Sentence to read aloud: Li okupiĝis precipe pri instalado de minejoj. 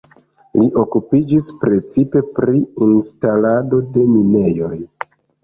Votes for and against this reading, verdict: 3, 1, accepted